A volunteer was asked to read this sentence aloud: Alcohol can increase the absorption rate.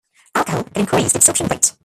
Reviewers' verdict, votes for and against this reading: rejected, 0, 2